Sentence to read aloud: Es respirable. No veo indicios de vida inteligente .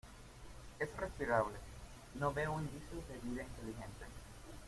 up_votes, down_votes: 1, 2